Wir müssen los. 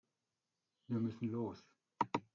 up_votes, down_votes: 1, 2